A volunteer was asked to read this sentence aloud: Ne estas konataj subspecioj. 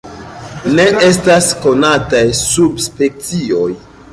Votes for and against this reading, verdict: 3, 0, accepted